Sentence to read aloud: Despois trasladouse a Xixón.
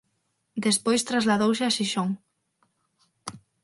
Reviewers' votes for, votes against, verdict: 6, 0, accepted